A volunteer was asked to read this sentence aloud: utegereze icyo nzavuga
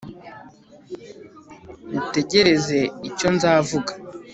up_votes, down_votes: 2, 0